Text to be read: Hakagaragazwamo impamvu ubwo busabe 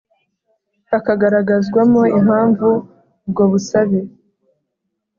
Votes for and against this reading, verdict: 3, 0, accepted